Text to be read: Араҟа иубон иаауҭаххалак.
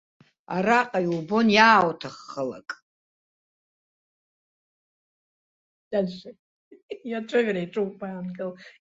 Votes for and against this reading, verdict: 0, 2, rejected